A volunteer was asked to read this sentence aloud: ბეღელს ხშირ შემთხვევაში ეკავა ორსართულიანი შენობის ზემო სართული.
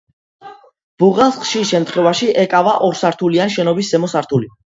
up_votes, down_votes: 2, 1